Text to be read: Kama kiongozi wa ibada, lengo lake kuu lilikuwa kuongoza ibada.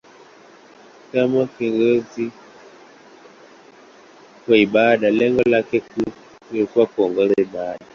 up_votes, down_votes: 0, 2